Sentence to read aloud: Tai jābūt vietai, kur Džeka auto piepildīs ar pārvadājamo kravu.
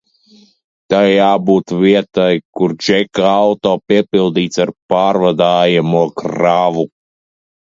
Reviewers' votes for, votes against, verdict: 1, 2, rejected